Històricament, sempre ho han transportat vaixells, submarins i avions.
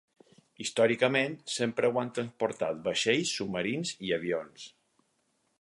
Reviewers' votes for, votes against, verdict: 6, 0, accepted